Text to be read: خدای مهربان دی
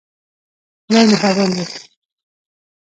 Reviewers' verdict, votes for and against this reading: rejected, 0, 2